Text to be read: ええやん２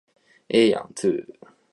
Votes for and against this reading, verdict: 0, 2, rejected